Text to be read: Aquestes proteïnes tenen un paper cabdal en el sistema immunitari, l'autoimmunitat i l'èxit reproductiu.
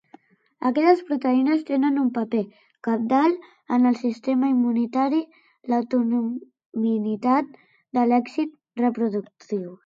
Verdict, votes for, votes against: rejected, 0, 2